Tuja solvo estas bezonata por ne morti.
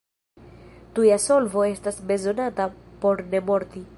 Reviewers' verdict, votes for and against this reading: accepted, 2, 1